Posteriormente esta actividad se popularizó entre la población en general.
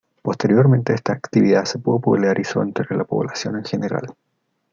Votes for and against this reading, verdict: 2, 0, accepted